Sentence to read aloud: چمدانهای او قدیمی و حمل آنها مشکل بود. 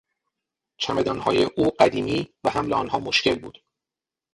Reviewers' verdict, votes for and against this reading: rejected, 0, 6